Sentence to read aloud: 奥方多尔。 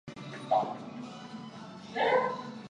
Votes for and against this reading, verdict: 0, 2, rejected